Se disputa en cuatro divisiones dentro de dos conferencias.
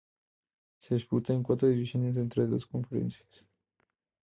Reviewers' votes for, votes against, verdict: 0, 2, rejected